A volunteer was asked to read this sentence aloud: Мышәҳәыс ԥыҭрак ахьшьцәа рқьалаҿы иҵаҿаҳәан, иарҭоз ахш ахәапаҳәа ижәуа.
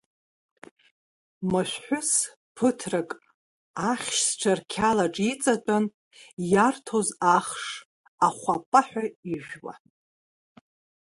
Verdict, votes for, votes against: rejected, 0, 2